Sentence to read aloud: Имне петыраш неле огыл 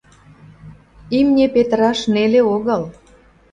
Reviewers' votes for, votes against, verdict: 2, 0, accepted